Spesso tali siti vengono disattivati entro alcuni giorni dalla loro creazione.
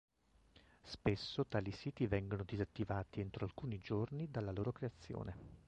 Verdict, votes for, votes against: accepted, 2, 0